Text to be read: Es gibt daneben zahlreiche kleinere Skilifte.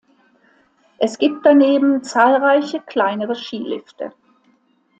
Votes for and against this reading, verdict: 2, 0, accepted